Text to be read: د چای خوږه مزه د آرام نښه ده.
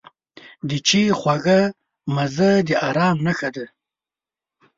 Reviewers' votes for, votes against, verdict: 1, 2, rejected